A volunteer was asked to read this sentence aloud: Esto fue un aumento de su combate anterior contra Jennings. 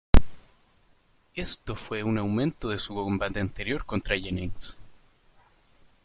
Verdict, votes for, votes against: rejected, 1, 2